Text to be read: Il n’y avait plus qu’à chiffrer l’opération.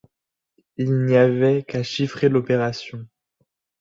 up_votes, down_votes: 0, 2